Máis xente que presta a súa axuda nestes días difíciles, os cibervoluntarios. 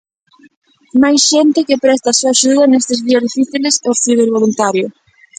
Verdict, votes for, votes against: rejected, 0, 2